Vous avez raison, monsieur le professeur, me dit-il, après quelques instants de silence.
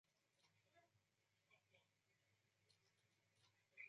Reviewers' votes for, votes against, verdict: 0, 2, rejected